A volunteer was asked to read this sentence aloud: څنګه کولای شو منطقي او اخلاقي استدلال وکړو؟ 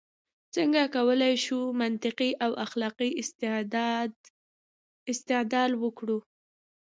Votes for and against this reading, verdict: 1, 2, rejected